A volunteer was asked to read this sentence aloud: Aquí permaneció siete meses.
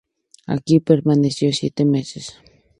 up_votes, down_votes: 4, 0